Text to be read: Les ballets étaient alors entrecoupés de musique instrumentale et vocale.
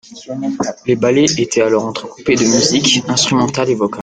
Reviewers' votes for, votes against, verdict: 1, 2, rejected